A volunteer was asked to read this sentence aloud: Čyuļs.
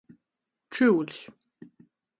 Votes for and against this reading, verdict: 14, 0, accepted